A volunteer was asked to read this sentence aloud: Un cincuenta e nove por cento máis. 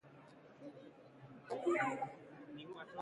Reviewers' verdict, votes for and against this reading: rejected, 0, 2